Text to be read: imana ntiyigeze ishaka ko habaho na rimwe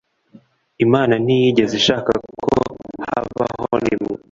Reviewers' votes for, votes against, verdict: 0, 2, rejected